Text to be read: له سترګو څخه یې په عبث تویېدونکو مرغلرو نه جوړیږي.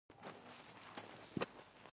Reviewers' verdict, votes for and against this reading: rejected, 1, 2